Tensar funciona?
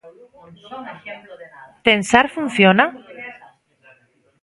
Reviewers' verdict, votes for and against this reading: rejected, 0, 2